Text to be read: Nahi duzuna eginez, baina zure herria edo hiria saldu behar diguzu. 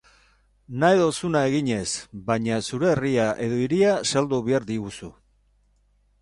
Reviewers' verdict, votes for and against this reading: accepted, 4, 0